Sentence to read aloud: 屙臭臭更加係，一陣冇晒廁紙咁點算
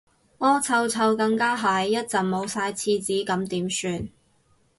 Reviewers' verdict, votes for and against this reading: accepted, 2, 0